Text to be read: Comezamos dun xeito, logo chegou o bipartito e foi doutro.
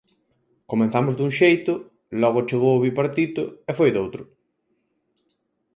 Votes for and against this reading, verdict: 4, 2, accepted